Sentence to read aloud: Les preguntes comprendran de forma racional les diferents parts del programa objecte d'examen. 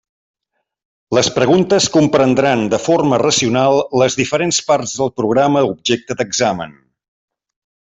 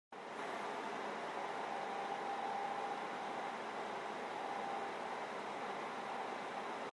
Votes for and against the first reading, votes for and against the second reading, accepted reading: 3, 0, 0, 2, first